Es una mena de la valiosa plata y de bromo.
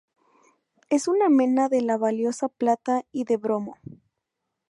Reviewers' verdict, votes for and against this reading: accepted, 4, 0